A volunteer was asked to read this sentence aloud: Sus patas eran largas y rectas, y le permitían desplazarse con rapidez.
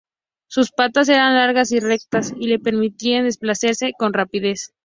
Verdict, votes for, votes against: rejected, 2, 2